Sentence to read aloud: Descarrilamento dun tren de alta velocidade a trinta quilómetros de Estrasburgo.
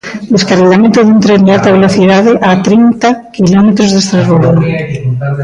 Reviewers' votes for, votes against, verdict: 1, 2, rejected